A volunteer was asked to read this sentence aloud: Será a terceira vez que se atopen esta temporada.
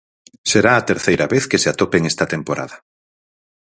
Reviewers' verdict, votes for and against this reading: accepted, 4, 0